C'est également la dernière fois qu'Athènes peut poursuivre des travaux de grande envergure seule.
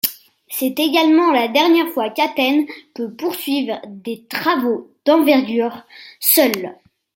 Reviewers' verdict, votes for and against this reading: rejected, 1, 2